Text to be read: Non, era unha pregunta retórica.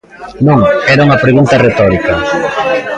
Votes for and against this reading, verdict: 1, 2, rejected